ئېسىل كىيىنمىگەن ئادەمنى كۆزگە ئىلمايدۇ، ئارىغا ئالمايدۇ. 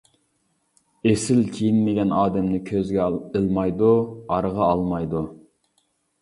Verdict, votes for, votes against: rejected, 1, 2